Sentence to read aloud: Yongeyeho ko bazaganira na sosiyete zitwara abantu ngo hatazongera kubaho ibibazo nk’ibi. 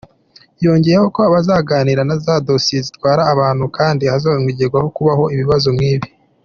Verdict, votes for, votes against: rejected, 0, 2